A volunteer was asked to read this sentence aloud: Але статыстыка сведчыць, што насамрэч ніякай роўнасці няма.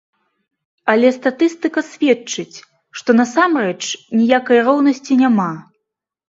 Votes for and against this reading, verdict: 2, 0, accepted